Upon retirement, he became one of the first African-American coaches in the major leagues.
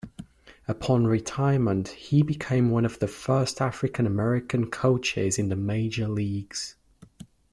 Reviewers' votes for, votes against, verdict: 2, 0, accepted